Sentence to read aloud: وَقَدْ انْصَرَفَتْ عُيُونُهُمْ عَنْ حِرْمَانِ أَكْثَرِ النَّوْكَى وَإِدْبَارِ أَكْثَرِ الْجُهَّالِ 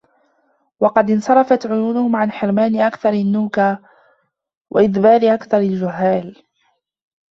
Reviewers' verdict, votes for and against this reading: rejected, 0, 2